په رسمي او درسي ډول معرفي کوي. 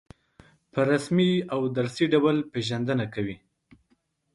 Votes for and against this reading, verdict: 0, 2, rejected